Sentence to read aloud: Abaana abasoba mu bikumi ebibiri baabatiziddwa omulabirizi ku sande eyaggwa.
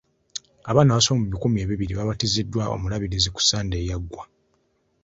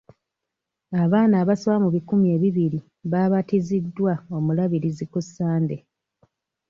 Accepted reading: first